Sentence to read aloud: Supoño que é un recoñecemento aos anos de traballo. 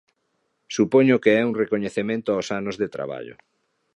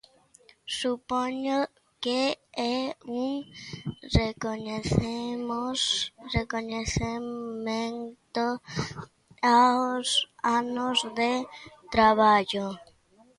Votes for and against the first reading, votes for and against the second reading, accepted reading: 2, 0, 0, 2, first